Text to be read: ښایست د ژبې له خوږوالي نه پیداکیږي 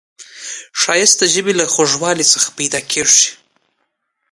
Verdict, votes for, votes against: rejected, 1, 2